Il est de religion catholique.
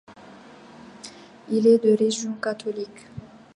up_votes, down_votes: 1, 2